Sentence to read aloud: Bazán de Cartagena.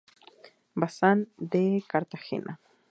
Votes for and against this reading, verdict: 4, 0, accepted